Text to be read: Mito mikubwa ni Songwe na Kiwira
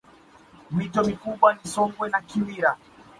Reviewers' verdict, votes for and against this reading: accepted, 2, 1